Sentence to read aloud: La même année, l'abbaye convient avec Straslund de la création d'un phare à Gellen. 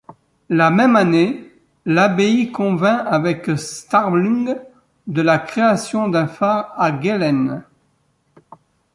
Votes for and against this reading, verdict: 0, 2, rejected